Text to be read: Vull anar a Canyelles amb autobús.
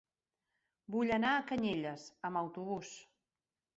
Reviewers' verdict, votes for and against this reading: accepted, 2, 0